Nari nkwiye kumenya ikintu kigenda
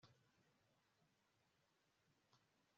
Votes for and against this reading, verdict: 1, 2, rejected